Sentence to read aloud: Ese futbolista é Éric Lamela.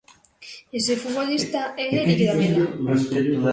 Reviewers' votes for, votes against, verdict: 0, 2, rejected